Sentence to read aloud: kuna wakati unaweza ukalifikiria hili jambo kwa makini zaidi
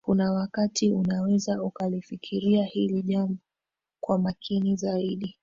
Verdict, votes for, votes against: accepted, 3, 0